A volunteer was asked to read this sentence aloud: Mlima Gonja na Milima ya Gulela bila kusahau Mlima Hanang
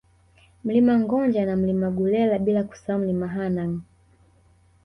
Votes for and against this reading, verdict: 2, 1, accepted